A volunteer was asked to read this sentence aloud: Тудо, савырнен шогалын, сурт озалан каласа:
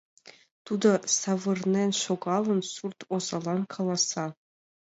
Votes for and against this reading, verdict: 2, 0, accepted